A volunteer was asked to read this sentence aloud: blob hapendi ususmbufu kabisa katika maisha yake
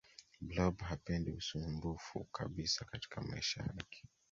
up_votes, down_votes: 2, 1